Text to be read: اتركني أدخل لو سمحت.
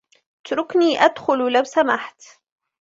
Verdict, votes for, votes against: accepted, 2, 0